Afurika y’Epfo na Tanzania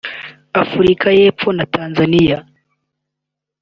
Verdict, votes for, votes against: accepted, 4, 0